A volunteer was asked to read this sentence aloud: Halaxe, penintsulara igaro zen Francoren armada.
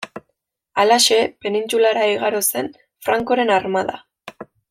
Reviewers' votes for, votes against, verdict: 2, 1, accepted